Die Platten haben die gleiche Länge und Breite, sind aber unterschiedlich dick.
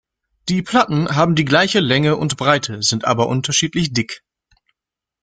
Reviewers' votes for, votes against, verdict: 2, 0, accepted